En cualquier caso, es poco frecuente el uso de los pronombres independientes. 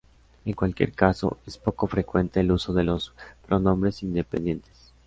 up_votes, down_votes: 2, 0